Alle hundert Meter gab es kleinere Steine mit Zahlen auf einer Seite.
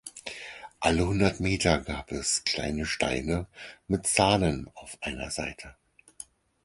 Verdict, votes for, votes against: rejected, 4, 6